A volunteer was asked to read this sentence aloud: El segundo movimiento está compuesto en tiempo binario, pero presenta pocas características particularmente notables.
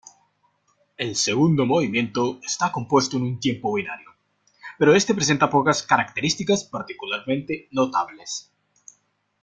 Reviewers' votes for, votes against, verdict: 1, 2, rejected